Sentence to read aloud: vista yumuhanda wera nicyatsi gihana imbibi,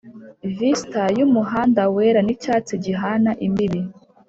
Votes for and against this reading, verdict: 3, 0, accepted